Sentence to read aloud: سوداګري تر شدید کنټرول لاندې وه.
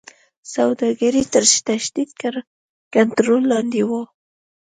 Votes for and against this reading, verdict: 1, 2, rejected